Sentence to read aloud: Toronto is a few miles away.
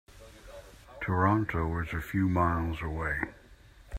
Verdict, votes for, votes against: accepted, 2, 0